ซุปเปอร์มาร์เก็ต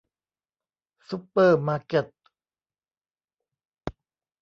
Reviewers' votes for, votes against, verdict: 2, 0, accepted